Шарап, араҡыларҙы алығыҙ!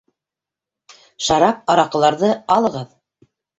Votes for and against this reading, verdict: 3, 0, accepted